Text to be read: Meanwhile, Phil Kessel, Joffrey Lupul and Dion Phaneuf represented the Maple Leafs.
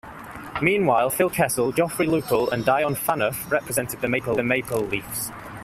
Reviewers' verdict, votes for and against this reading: rejected, 1, 2